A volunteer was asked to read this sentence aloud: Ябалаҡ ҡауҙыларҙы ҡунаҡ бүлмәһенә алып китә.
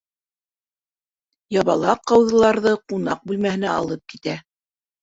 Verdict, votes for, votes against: accepted, 2, 0